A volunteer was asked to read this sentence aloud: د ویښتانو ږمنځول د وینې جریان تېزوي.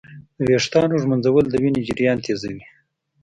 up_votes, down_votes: 2, 0